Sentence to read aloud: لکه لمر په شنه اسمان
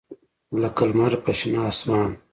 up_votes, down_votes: 1, 2